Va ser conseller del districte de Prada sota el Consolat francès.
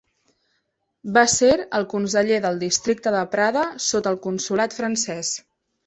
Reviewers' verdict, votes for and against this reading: rejected, 0, 2